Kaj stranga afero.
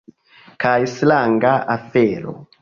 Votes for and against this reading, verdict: 2, 3, rejected